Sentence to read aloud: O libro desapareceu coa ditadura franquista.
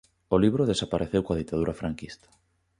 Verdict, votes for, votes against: accepted, 2, 0